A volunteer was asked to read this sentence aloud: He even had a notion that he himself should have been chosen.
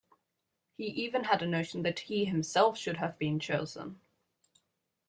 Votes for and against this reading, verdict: 2, 0, accepted